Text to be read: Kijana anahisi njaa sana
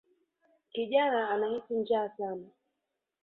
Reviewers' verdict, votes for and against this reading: accepted, 2, 0